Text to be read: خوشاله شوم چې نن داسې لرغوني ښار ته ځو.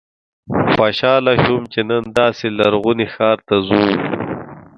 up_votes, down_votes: 1, 2